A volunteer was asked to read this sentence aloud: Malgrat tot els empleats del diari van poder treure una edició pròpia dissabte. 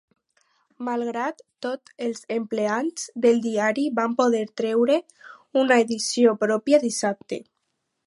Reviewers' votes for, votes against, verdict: 4, 0, accepted